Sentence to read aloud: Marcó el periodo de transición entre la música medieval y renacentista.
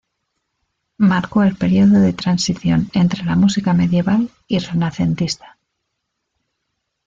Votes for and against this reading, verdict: 1, 2, rejected